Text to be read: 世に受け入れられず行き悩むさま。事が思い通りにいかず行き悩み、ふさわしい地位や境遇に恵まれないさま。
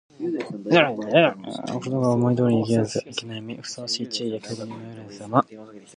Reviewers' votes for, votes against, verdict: 0, 2, rejected